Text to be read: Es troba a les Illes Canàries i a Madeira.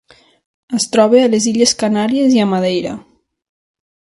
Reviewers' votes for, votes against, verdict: 4, 0, accepted